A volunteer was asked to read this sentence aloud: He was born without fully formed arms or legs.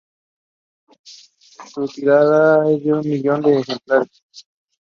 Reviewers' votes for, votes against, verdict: 0, 2, rejected